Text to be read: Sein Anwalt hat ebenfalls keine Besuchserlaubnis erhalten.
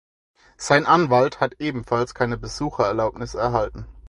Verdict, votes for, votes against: rejected, 2, 4